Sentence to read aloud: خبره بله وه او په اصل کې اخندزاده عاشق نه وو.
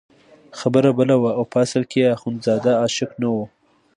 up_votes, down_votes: 2, 0